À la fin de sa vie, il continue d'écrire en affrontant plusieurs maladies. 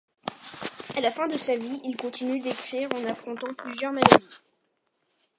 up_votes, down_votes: 2, 0